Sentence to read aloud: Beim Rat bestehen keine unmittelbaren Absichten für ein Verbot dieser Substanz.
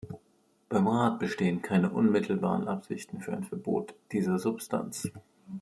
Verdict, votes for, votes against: accepted, 2, 0